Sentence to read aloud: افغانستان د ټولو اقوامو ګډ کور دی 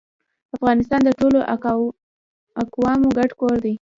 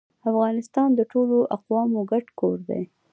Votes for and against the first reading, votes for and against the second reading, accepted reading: 0, 2, 2, 0, second